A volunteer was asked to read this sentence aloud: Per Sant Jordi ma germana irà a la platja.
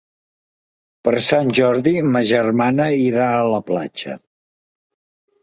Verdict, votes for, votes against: accepted, 2, 1